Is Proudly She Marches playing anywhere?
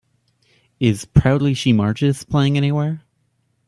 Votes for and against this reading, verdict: 3, 0, accepted